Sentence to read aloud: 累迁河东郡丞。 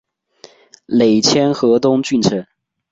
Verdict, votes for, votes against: accepted, 2, 0